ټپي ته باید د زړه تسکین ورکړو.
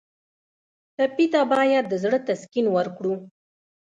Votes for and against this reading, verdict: 2, 1, accepted